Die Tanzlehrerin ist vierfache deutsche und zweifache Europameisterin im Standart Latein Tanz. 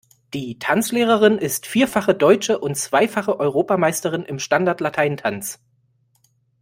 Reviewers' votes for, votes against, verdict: 2, 0, accepted